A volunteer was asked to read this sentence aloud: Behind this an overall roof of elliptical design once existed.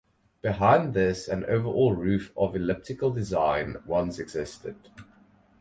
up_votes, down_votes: 4, 0